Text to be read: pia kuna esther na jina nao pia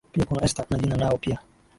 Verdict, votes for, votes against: rejected, 1, 2